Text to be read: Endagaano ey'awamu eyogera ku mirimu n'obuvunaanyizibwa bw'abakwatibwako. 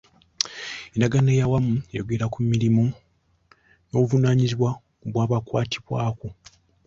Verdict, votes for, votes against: accepted, 2, 0